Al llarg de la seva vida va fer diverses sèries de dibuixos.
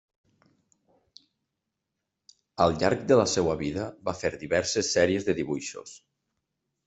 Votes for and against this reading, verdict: 1, 2, rejected